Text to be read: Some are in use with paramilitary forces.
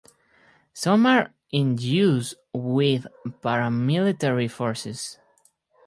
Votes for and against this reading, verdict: 2, 0, accepted